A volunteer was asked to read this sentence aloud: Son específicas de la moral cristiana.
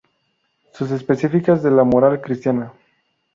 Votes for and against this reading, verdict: 0, 2, rejected